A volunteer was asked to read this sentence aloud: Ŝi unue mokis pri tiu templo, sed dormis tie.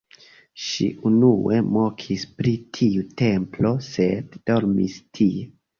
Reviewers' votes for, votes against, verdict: 2, 0, accepted